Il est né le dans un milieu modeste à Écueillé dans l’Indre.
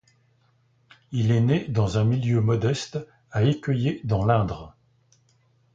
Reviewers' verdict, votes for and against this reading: rejected, 1, 2